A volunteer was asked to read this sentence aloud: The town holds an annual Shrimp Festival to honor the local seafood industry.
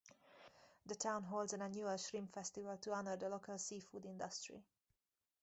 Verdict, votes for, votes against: accepted, 4, 2